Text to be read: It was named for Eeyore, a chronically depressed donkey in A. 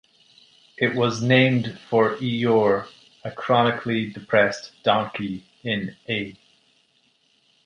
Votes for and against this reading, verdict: 2, 0, accepted